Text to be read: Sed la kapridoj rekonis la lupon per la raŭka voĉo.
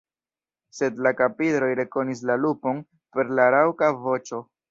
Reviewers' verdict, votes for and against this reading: rejected, 1, 2